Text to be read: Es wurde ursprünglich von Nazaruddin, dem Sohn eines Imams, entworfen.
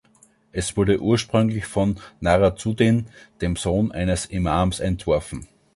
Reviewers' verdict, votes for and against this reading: rejected, 0, 2